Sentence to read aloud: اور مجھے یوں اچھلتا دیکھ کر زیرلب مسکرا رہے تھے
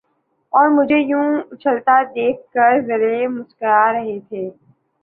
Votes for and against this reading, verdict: 3, 1, accepted